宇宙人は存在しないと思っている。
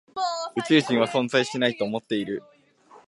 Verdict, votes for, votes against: accepted, 2, 0